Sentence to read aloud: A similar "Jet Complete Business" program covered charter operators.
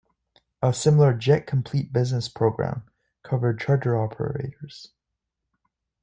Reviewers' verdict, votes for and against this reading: accepted, 2, 0